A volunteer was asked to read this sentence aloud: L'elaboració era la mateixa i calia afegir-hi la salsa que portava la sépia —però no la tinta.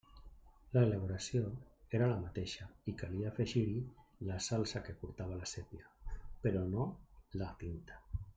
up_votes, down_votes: 0, 2